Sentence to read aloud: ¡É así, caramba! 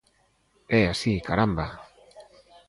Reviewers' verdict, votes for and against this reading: accepted, 2, 0